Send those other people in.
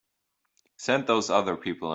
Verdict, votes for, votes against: rejected, 0, 4